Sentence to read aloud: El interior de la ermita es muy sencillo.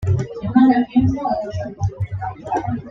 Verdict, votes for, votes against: rejected, 1, 2